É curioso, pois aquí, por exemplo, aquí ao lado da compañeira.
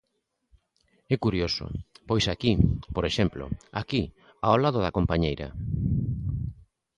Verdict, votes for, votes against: accepted, 2, 0